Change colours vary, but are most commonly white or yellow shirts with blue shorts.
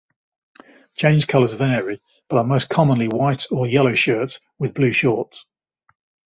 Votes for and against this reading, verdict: 2, 0, accepted